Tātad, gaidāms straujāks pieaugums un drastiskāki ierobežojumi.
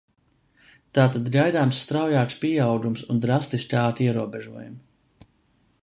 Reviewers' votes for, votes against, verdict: 2, 0, accepted